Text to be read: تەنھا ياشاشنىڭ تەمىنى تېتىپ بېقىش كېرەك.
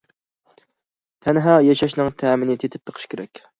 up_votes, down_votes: 2, 0